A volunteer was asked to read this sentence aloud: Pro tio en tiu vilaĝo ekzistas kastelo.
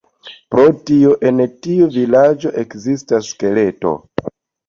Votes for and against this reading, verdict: 1, 2, rejected